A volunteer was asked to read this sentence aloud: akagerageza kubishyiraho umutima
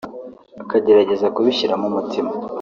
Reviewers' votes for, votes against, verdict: 1, 2, rejected